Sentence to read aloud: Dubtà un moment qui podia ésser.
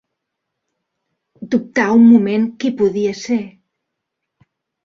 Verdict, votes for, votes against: accepted, 2, 1